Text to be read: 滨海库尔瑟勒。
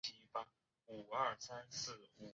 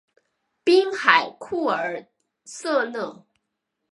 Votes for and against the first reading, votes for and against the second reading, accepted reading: 0, 2, 3, 0, second